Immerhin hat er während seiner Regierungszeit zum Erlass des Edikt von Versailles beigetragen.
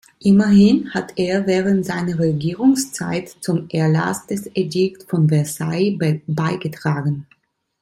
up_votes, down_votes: 1, 2